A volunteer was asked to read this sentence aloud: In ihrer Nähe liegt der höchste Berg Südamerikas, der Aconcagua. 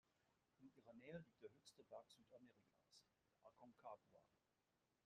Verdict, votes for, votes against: rejected, 1, 2